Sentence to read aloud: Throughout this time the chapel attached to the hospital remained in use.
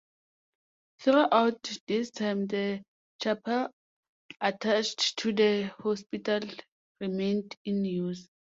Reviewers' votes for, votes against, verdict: 2, 0, accepted